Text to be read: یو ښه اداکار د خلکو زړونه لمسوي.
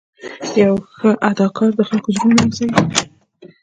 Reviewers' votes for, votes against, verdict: 0, 2, rejected